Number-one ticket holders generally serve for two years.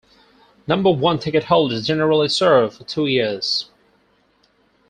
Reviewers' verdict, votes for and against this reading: rejected, 2, 4